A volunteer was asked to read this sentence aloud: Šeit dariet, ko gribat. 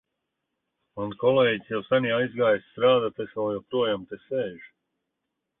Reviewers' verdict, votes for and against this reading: rejected, 0, 2